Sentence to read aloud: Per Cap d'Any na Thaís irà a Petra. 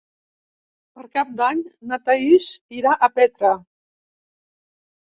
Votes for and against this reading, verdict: 3, 0, accepted